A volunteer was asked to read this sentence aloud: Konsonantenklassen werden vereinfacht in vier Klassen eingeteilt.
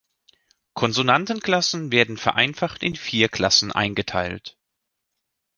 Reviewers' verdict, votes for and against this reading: accepted, 2, 0